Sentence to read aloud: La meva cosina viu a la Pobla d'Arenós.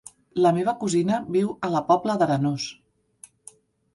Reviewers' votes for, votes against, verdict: 2, 0, accepted